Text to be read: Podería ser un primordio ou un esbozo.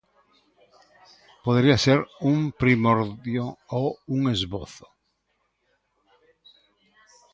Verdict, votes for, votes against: rejected, 1, 2